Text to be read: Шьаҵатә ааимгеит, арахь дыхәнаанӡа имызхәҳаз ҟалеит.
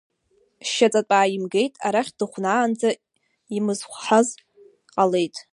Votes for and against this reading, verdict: 1, 2, rejected